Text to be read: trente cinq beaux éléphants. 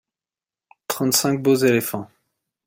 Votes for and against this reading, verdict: 2, 0, accepted